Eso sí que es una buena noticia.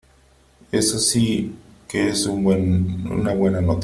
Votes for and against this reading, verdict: 0, 3, rejected